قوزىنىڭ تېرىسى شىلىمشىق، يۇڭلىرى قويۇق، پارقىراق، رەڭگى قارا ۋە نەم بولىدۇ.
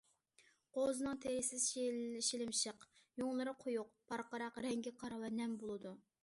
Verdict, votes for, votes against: rejected, 0, 2